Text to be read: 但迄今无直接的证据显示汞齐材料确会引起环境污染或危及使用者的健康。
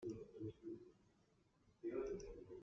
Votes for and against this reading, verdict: 0, 2, rejected